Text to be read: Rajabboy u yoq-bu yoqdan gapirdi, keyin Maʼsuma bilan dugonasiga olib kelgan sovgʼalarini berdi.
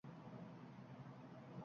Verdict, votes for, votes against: rejected, 1, 2